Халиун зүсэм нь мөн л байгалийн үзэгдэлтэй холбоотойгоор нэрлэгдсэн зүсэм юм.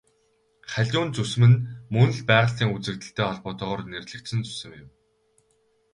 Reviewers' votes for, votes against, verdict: 2, 2, rejected